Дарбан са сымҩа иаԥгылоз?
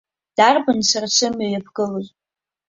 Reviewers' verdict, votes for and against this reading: rejected, 0, 2